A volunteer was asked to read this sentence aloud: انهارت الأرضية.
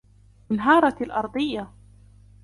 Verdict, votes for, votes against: accepted, 2, 1